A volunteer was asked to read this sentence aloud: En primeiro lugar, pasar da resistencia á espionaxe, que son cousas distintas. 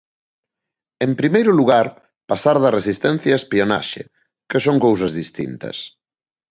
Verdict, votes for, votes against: accepted, 2, 0